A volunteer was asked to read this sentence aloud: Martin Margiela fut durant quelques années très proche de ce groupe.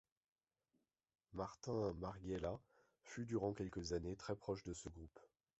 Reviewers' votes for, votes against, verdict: 0, 2, rejected